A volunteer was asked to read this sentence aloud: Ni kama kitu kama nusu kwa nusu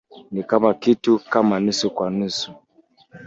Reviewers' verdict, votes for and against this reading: accepted, 2, 1